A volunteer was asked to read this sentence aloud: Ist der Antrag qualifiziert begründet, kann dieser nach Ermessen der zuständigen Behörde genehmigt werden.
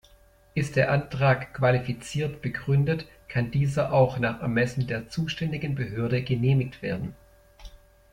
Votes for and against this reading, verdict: 1, 2, rejected